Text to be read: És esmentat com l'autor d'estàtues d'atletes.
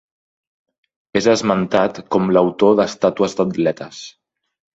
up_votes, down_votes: 3, 0